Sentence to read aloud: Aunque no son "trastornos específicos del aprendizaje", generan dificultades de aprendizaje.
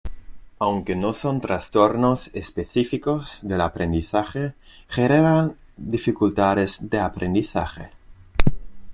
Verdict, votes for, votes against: rejected, 0, 2